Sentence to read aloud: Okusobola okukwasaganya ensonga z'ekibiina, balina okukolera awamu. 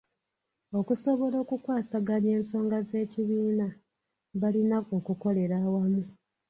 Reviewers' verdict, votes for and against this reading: accepted, 2, 0